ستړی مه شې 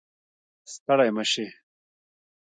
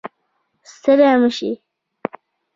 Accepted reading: first